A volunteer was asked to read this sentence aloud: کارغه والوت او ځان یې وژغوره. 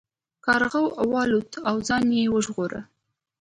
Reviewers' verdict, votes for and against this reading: accepted, 2, 1